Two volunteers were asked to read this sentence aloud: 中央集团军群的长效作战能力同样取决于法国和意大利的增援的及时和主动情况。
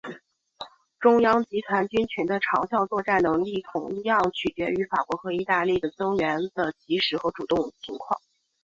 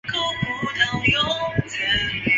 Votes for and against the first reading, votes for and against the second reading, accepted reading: 3, 0, 0, 2, first